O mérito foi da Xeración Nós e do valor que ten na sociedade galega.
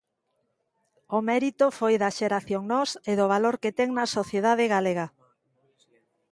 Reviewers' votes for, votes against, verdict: 2, 0, accepted